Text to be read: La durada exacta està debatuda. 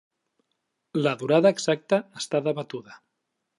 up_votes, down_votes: 3, 0